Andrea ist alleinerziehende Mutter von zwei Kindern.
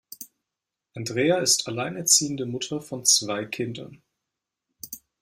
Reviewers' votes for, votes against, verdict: 2, 0, accepted